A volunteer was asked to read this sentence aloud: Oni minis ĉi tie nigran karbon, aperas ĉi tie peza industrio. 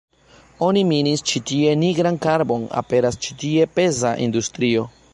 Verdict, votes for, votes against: rejected, 0, 2